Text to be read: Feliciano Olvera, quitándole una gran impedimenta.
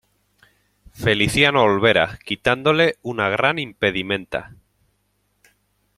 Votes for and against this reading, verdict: 2, 1, accepted